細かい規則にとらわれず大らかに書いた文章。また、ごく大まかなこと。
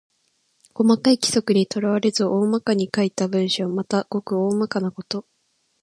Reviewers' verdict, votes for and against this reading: rejected, 0, 2